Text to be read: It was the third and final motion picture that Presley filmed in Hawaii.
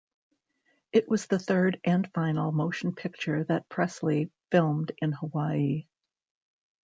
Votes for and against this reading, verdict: 2, 0, accepted